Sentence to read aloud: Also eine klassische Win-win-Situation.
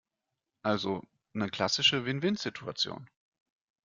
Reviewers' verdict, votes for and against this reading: rejected, 0, 2